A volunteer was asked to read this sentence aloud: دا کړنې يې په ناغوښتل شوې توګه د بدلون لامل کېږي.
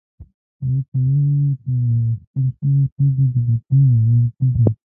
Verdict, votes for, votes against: rejected, 1, 2